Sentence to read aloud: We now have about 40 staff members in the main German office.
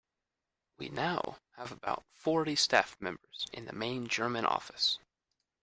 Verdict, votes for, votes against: rejected, 0, 2